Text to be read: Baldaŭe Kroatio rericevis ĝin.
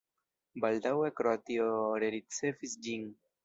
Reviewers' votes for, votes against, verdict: 1, 2, rejected